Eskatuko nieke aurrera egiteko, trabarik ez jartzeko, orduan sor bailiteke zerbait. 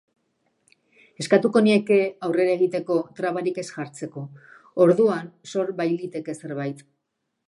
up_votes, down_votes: 2, 0